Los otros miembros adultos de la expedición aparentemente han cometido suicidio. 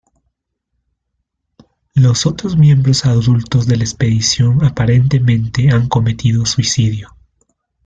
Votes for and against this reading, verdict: 2, 0, accepted